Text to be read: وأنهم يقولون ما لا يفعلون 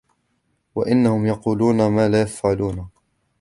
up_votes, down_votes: 1, 2